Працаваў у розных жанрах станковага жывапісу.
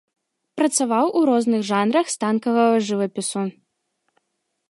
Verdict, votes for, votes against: rejected, 0, 2